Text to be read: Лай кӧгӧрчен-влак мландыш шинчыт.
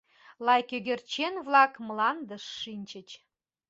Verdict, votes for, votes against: rejected, 0, 2